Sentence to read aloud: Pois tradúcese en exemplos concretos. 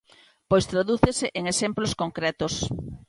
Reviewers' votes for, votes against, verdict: 2, 0, accepted